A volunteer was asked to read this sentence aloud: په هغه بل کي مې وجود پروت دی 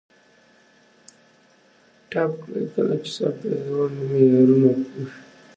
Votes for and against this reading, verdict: 1, 2, rejected